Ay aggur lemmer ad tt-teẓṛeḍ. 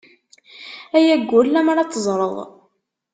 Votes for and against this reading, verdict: 0, 2, rejected